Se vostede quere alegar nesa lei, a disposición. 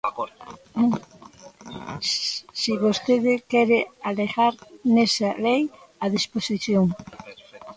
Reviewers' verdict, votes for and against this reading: rejected, 0, 2